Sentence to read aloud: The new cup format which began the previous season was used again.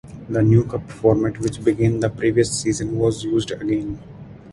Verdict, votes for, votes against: accepted, 4, 0